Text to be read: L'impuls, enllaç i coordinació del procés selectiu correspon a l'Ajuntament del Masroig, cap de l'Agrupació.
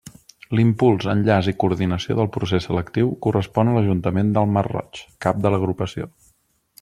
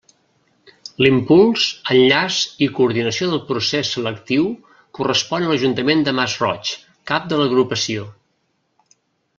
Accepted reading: first